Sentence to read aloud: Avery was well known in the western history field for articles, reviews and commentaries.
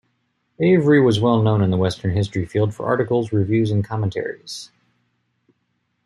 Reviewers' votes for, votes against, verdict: 2, 0, accepted